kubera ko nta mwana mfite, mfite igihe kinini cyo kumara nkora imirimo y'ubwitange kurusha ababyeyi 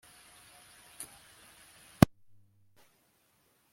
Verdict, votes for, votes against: rejected, 0, 2